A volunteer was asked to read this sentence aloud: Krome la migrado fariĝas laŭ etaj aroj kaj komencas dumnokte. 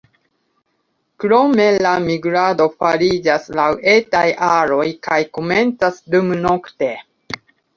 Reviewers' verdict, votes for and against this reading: accepted, 2, 0